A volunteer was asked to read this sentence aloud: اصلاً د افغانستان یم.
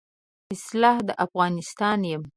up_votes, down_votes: 0, 2